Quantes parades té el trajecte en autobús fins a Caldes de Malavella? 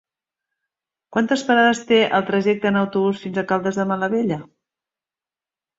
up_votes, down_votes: 5, 0